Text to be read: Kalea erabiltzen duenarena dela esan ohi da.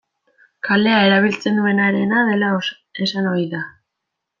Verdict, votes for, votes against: rejected, 1, 2